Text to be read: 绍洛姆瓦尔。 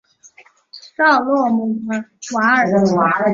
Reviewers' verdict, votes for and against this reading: accepted, 3, 1